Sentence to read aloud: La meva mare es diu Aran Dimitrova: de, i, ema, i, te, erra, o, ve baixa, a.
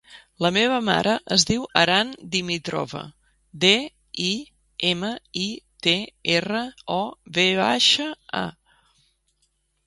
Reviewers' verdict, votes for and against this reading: accepted, 3, 0